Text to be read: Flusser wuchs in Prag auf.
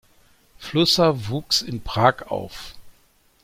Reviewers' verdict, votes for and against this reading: accepted, 2, 0